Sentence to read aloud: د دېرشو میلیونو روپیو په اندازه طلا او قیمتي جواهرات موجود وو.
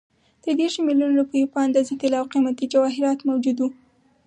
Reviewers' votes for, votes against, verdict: 4, 0, accepted